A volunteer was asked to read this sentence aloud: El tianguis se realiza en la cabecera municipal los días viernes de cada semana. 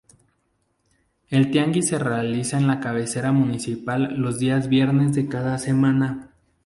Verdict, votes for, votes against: accepted, 2, 0